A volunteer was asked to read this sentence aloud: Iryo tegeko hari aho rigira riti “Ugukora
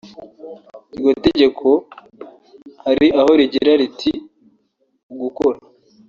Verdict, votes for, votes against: accepted, 3, 0